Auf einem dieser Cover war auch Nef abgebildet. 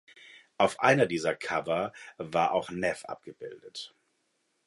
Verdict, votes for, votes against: rejected, 1, 2